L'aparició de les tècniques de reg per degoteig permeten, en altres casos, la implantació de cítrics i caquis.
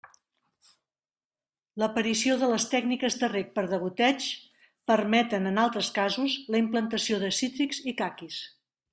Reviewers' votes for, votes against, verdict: 2, 1, accepted